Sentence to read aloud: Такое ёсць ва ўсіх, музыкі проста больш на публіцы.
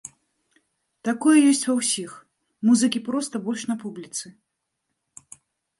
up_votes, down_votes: 2, 0